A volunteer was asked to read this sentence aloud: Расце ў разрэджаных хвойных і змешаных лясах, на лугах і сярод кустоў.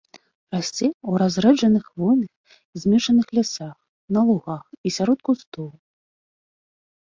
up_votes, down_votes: 2, 0